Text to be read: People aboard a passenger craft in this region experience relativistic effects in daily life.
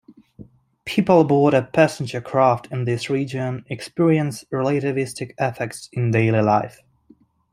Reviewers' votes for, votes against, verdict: 1, 2, rejected